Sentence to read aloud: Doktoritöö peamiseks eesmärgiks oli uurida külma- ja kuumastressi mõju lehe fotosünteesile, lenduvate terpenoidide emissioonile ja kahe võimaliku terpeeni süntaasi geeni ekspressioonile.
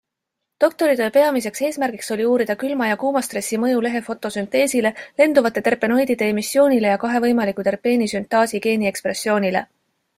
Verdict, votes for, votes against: accepted, 2, 0